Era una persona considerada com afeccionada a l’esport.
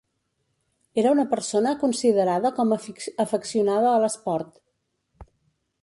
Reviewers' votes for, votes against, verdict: 0, 2, rejected